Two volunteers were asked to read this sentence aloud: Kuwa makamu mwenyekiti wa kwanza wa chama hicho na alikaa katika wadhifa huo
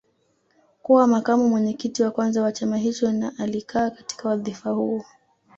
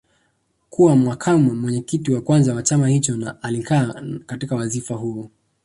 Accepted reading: first